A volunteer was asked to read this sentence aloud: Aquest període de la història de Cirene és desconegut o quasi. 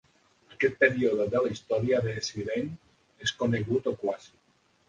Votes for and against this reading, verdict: 0, 3, rejected